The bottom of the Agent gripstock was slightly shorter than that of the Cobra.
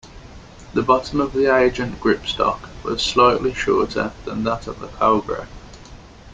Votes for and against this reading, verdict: 2, 0, accepted